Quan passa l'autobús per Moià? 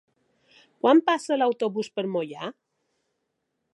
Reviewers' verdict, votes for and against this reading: accepted, 2, 0